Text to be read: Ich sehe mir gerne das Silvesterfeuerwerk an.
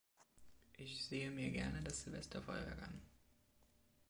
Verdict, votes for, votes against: accepted, 3, 0